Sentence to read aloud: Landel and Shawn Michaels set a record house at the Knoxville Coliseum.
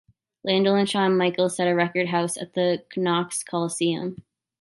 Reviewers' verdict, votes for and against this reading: rejected, 1, 2